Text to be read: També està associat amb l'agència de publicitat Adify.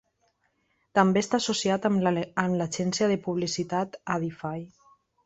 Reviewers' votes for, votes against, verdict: 0, 2, rejected